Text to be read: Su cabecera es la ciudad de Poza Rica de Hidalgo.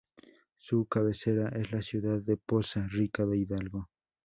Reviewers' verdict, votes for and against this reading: accepted, 2, 0